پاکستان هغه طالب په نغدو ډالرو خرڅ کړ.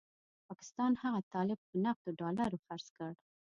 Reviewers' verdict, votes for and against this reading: accepted, 2, 0